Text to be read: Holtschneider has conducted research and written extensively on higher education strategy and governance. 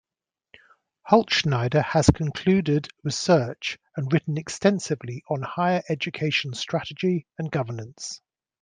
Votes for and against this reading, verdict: 0, 2, rejected